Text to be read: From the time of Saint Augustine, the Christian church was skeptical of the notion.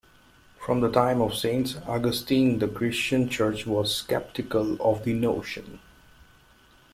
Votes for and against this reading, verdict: 2, 0, accepted